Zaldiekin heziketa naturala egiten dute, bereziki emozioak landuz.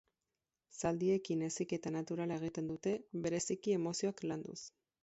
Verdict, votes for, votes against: rejected, 2, 4